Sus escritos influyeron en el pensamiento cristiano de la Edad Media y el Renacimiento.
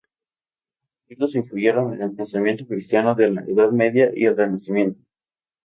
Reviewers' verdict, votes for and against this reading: accepted, 2, 0